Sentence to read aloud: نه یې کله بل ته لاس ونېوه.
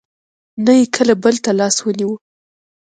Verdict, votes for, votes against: accepted, 2, 0